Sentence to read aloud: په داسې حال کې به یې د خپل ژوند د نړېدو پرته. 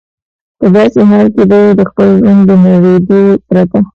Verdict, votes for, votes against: rejected, 1, 2